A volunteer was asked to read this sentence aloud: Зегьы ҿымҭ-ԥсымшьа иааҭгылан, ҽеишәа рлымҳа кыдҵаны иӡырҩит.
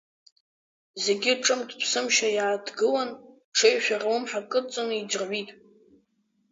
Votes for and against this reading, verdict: 6, 0, accepted